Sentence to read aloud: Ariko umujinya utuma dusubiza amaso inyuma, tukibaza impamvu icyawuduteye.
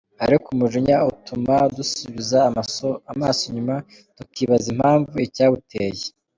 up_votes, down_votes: 2, 0